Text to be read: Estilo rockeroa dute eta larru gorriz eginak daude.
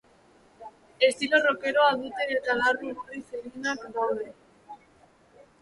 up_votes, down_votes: 1, 3